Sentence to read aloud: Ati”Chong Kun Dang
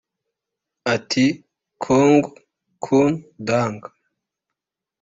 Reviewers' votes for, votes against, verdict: 2, 1, accepted